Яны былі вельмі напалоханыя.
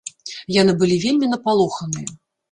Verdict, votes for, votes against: accepted, 2, 0